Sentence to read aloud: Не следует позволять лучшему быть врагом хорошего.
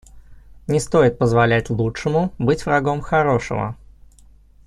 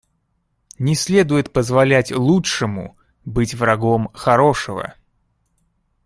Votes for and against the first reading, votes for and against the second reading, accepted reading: 1, 2, 2, 0, second